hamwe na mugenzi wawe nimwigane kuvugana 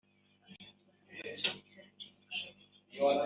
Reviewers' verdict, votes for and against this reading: rejected, 0, 2